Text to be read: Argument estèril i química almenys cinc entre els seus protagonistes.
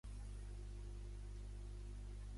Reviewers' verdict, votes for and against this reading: rejected, 0, 2